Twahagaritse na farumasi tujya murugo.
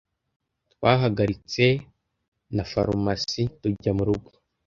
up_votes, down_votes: 2, 0